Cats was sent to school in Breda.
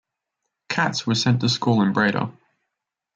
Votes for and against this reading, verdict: 2, 0, accepted